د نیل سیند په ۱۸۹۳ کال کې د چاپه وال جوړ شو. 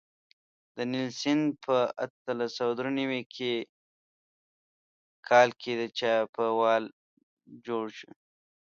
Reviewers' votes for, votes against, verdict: 0, 2, rejected